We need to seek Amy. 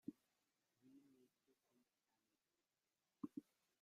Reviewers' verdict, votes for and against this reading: rejected, 0, 2